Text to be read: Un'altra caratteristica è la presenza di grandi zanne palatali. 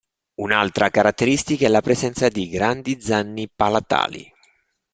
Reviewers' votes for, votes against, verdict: 1, 2, rejected